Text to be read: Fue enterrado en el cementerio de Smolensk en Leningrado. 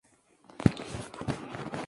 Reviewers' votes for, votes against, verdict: 0, 2, rejected